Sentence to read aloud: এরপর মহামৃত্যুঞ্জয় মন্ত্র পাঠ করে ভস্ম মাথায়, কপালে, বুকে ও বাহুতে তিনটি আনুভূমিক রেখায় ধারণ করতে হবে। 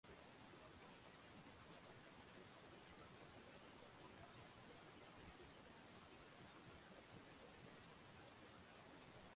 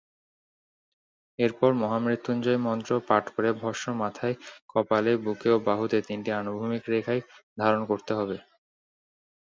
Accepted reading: second